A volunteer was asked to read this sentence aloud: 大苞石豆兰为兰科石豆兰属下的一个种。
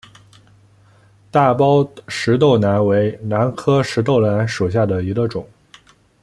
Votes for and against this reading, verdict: 2, 0, accepted